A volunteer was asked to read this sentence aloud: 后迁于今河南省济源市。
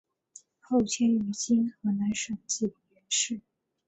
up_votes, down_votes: 1, 2